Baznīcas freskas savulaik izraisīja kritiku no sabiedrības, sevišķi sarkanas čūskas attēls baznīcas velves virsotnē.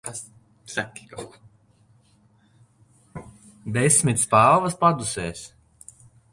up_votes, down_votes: 0, 2